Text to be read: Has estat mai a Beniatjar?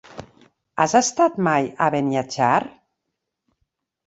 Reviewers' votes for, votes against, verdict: 3, 0, accepted